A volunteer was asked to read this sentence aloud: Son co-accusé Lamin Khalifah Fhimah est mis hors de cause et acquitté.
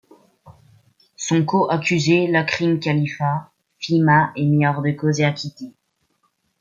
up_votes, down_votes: 1, 2